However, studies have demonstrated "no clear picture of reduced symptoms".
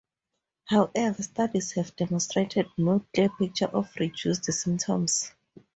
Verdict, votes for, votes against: rejected, 2, 2